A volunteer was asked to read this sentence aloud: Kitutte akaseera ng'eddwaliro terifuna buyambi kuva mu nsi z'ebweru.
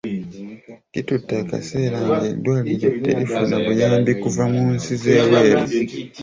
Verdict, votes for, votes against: rejected, 1, 2